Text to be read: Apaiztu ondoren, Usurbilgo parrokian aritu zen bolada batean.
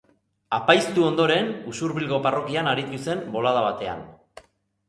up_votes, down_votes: 3, 0